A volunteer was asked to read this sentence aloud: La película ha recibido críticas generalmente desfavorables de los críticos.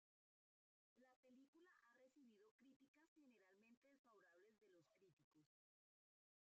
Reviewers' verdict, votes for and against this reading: rejected, 0, 3